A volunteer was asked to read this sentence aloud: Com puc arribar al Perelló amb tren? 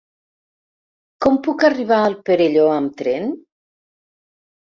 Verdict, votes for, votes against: accepted, 4, 0